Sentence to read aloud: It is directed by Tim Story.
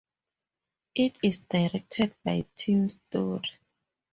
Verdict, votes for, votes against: rejected, 2, 2